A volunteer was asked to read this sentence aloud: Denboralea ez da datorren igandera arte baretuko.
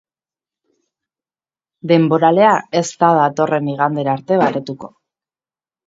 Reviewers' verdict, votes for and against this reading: accepted, 4, 1